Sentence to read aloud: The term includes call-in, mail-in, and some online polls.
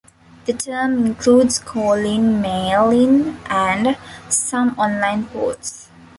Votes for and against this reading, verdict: 1, 2, rejected